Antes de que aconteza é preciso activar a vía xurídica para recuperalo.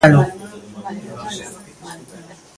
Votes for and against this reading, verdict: 0, 2, rejected